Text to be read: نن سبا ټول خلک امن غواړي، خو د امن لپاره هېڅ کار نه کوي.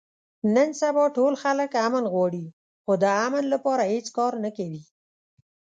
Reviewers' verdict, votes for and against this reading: accepted, 3, 1